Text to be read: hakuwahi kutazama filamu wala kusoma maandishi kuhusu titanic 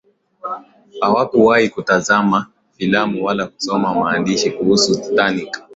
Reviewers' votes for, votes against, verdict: 4, 0, accepted